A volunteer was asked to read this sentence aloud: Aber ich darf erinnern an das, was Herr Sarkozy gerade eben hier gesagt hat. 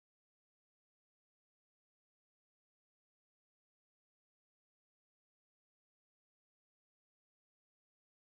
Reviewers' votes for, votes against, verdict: 0, 2, rejected